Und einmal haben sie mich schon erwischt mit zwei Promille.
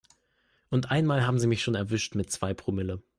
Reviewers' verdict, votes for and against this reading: accepted, 2, 0